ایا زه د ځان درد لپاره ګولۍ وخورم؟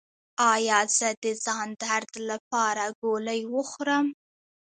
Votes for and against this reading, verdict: 2, 0, accepted